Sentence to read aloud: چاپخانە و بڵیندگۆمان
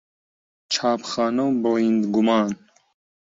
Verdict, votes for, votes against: rejected, 0, 2